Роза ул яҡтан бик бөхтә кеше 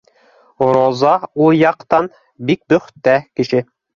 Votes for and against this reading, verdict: 2, 0, accepted